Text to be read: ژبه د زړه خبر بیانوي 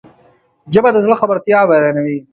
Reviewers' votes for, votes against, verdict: 0, 2, rejected